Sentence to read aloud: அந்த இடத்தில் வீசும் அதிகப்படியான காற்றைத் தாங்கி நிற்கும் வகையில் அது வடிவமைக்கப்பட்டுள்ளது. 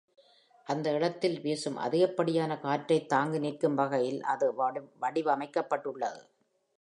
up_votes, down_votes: 1, 2